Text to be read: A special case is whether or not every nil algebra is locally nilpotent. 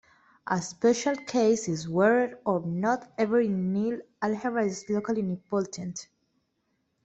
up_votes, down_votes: 0, 2